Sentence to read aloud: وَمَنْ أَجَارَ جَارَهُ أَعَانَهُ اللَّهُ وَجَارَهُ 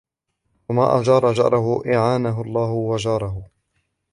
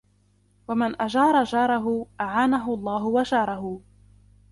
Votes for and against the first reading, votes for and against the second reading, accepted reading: 2, 1, 0, 2, first